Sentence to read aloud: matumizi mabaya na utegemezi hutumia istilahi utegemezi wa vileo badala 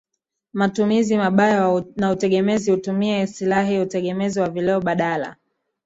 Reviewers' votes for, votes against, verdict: 2, 0, accepted